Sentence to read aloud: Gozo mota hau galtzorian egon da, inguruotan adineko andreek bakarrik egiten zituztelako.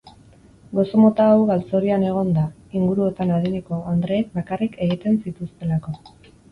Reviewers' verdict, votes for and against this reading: accepted, 4, 0